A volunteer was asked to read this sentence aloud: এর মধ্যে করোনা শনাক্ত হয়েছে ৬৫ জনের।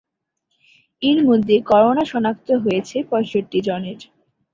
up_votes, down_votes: 0, 2